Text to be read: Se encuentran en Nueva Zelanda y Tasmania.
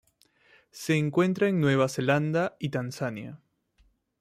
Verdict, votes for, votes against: rejected, 0, 2